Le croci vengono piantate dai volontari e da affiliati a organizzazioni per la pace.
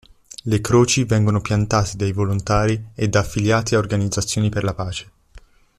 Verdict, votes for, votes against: accepted, 2, 0